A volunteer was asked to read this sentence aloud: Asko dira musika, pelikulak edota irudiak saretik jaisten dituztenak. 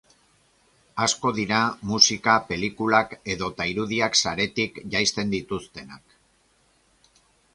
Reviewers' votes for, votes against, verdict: 2, 0, accepted